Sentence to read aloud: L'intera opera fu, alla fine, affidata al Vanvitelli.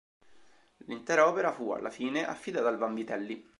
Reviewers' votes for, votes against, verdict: 3, 0, accepted